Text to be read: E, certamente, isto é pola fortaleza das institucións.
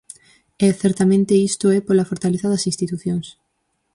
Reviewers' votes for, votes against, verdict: 4, 0, accepted